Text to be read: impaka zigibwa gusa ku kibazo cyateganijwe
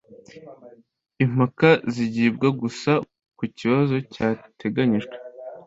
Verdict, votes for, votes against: accepted, 2, 0